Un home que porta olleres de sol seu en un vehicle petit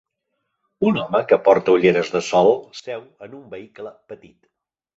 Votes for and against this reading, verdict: 2, 0, accepted